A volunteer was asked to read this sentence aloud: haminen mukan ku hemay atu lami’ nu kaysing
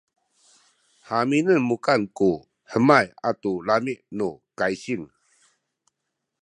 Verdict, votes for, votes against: accepted, 2, 0